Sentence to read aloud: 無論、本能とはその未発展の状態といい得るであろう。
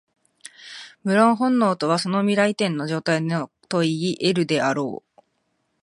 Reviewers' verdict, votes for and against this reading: rejected, 0, 2